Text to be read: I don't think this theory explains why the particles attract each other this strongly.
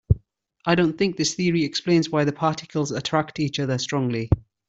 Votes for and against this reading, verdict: 2, 1, accepted